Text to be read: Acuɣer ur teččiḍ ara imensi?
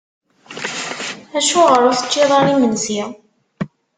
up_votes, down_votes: 1, 2